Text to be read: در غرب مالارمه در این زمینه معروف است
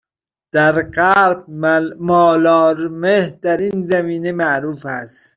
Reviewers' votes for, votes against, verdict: 0, 2, rejected